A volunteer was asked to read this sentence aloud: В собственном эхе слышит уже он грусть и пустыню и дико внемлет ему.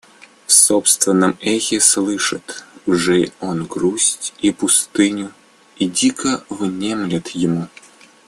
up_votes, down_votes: 2, 0